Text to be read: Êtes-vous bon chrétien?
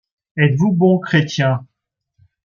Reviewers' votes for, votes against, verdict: 2, 0, accepted